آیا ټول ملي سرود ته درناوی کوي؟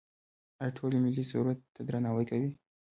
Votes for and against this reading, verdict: 2, 1, accepted